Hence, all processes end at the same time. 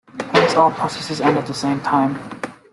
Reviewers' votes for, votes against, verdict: 1, 2, rejected